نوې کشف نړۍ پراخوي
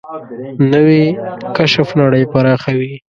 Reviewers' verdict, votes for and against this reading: accepted, 2, 0